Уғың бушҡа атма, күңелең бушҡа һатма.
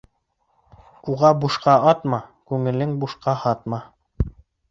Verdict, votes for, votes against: rejected, 0, 2